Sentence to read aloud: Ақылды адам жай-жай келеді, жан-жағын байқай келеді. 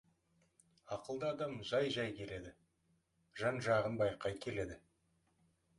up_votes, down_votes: 2, 0